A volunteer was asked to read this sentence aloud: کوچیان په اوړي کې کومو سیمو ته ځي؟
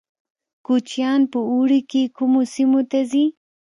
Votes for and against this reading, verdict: 2, 0, accepted